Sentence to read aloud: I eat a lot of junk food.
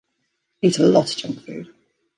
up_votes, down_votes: 0, 2